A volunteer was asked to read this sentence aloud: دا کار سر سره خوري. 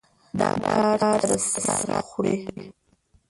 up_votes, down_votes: 0, 2